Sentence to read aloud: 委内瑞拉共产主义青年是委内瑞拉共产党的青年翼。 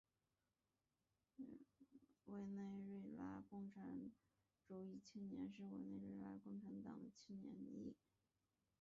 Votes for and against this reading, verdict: 0, 2, rejected